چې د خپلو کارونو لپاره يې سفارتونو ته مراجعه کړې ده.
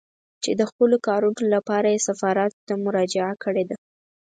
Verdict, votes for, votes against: rejected, 2, 4